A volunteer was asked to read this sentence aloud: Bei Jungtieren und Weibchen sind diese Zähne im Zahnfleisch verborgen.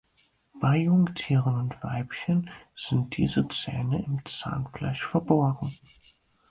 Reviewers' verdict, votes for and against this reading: accepted, 4, 2